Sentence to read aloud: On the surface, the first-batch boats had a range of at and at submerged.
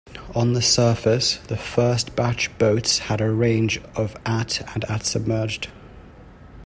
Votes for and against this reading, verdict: 1, 2, rejected